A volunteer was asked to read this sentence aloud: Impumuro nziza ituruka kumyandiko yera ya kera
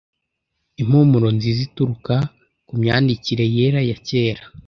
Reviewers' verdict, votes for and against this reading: rejected, 1, 2